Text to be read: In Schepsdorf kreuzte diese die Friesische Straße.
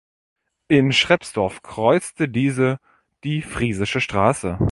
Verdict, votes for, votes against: rejected, 0, 2